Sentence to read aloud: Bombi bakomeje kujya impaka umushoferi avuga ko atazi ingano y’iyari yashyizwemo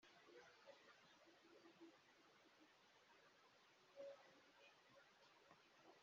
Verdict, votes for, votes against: rejected, 0, 2